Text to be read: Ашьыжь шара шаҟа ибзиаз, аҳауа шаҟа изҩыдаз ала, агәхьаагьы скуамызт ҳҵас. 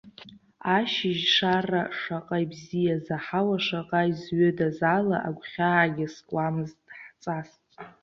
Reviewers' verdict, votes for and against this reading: accepted, 2, 0